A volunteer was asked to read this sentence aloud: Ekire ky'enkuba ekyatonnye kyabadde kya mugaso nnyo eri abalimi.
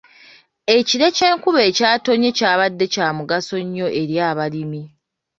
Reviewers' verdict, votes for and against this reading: accepted, 2, 0